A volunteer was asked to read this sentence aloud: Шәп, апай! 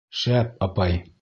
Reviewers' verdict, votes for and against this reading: accepted, 2, 0